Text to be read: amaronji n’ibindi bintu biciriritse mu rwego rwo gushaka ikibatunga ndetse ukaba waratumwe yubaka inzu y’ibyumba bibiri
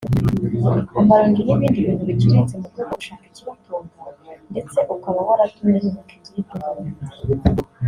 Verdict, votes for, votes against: rejected, 0, 2